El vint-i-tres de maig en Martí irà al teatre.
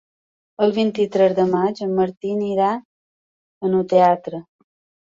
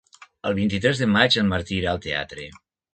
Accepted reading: second